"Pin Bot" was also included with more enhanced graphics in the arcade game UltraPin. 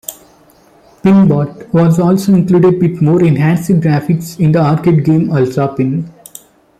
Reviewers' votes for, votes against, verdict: 1, 2, rejected